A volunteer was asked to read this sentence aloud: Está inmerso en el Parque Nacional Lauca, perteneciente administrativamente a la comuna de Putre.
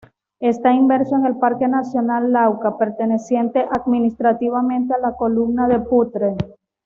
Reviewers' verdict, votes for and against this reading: accepted, 2, 0